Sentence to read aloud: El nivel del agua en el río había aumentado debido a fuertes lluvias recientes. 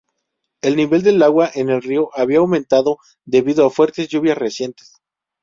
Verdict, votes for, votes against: accepted, 2, 0